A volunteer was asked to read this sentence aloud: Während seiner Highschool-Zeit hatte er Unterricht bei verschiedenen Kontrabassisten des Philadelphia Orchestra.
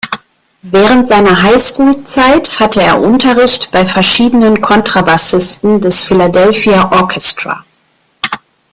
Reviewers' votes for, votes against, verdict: 2, 0, accepted